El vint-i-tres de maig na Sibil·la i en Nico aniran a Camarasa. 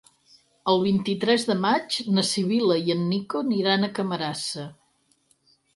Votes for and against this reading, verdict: 0, 4, rejected